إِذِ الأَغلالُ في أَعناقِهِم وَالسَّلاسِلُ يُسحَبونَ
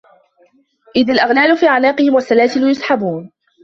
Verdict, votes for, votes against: accepted, 2, 0